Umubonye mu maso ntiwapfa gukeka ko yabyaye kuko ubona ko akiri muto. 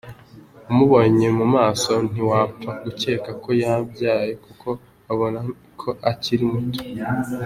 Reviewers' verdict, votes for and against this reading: accepted, 2, 0